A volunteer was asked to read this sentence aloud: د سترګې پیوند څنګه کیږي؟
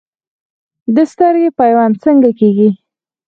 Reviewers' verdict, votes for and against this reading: rejected, 2, 4